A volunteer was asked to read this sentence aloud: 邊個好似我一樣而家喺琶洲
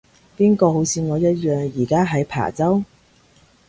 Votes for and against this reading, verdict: 2, 0, accepted